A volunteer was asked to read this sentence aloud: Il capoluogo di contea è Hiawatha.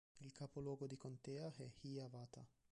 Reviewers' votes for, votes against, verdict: 0, 2, rejected